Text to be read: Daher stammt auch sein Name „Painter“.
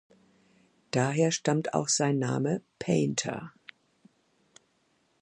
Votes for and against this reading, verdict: 2, 0, accepted